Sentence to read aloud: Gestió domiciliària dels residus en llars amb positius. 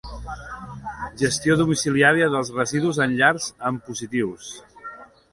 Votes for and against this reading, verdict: 2, 1, accepted